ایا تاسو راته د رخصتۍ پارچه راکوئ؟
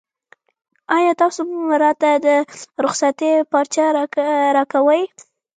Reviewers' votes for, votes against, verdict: 0, 2, rejected